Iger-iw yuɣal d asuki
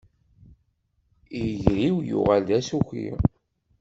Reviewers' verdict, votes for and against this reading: rejected, 1, 2